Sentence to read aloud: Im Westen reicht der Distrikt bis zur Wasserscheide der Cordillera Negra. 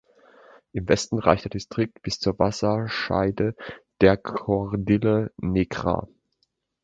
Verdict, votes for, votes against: rejected, 0, 2